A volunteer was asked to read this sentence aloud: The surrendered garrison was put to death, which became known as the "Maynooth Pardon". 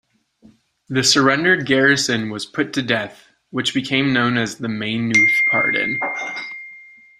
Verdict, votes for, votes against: rejected, 1, 2